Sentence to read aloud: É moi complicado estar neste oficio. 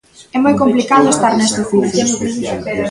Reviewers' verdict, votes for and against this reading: accepted, 2, 0